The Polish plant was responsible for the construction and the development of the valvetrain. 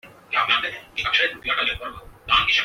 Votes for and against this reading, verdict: 0, 2, rejected